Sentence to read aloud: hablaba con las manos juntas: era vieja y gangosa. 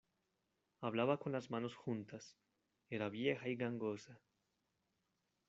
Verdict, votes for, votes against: rejected, 1, 2